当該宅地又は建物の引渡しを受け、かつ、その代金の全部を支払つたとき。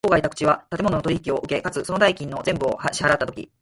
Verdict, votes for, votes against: rejected, 0, 4